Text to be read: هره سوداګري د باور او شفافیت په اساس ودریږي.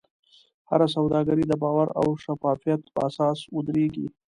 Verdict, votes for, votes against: accepted, 2, 1